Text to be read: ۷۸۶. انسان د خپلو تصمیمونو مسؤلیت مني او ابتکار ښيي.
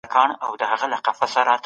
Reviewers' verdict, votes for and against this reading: rejected, 0, 2